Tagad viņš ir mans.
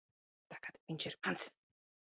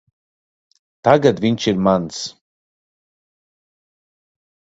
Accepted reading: second